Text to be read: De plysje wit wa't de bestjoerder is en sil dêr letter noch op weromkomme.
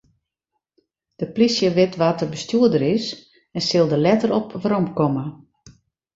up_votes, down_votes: 0, 2